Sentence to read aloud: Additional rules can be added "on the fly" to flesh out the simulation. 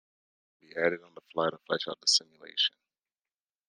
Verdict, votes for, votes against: rejected, 0, 2